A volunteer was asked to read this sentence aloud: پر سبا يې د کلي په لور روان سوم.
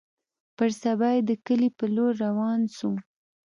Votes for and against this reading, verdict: 2, 0, accepted